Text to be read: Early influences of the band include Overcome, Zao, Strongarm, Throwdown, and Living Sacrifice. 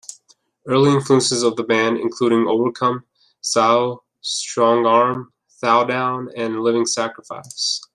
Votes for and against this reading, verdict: 0, 2, rejected